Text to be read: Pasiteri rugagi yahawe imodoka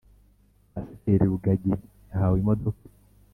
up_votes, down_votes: 2, 0